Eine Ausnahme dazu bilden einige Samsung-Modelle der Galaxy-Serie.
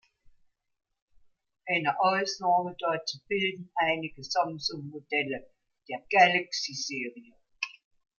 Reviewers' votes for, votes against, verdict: 2, 0, accepted